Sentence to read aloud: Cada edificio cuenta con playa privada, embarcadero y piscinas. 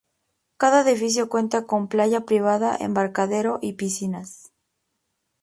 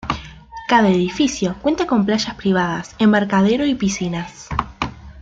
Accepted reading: first